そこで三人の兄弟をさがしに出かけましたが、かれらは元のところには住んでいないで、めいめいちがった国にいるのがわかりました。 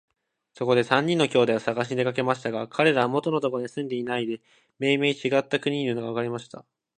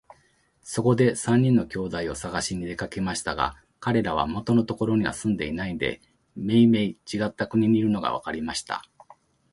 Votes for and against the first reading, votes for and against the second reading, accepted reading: 1, 2, 2, 0, second